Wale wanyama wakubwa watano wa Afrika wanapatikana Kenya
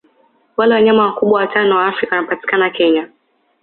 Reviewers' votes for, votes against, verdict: 2, 0, accepted